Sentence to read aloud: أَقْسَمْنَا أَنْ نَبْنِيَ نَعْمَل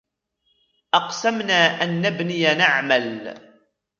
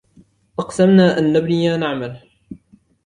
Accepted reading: second